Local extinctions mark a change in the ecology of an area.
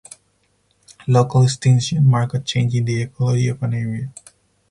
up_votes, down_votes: 2, 4